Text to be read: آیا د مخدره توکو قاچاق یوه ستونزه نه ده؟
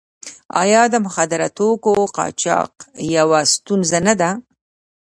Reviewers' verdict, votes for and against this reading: accepted, 2, 1